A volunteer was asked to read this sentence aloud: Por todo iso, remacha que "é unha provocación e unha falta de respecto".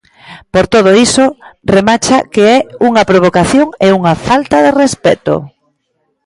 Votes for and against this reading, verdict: 2, 0, accepted